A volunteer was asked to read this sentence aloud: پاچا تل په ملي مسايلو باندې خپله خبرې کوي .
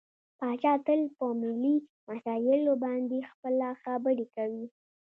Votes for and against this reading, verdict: 1, 2, rejected